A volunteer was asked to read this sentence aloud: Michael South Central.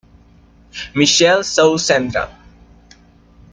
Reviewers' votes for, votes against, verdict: 0, 2, rejected